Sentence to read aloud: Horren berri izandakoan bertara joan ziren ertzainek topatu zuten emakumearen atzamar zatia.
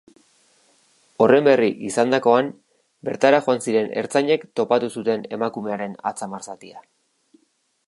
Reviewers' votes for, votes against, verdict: 2, 0, accepted